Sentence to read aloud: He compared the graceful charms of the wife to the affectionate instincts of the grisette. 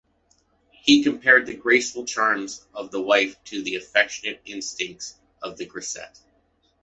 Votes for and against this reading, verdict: 2, 0, accepted